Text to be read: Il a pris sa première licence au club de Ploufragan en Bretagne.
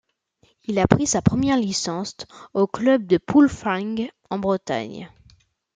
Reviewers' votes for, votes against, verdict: 0, 2, rejected